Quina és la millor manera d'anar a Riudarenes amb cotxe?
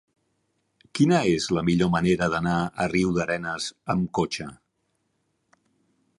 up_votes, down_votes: 2, 0